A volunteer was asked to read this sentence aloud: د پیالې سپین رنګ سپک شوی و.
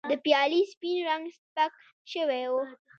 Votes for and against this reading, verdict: 2, 1, accepted